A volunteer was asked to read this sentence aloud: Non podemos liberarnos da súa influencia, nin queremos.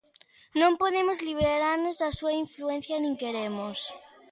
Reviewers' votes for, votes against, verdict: 2, 0, accepted